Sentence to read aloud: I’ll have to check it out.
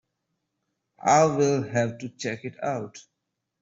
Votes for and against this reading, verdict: 1, 2, rejected